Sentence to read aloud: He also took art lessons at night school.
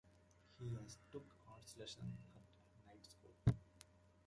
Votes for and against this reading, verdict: 1, 2, rejected